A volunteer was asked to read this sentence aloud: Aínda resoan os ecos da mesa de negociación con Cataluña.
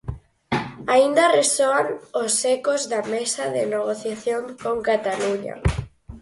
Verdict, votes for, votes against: accepted, 4, 0